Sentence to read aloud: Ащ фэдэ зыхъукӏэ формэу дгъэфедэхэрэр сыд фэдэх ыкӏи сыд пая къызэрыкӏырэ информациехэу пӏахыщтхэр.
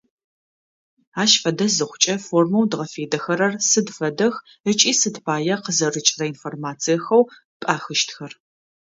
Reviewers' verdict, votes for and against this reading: accepted, 2, 0